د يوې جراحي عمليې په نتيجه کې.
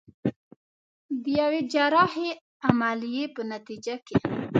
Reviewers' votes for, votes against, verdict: 1, 2, rejected